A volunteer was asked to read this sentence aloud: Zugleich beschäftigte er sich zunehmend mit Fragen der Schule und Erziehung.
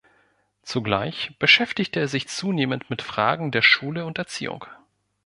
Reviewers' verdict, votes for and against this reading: accepted, 2, 0